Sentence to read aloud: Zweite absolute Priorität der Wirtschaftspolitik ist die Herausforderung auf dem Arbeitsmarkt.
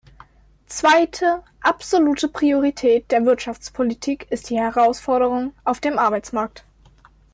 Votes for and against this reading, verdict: 2, 0, accepted